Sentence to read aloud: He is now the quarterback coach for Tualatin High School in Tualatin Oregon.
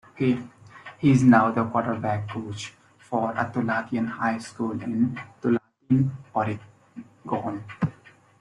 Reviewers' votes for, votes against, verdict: 0, 2, rejected